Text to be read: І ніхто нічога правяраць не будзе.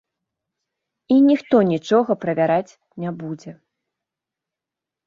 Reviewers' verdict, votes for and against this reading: accepted, 2, 0